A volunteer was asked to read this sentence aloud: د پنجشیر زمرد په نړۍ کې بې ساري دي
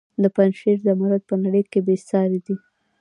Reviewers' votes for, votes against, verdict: 2, 0, accepted